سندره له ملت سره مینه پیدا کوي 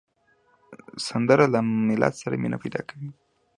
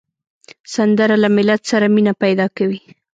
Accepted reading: first